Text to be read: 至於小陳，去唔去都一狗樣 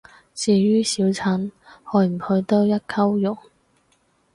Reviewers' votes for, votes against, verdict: 2, 2, rejected